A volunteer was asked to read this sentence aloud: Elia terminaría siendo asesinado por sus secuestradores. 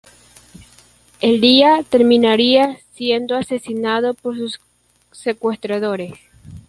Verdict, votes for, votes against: rejected, 1, 2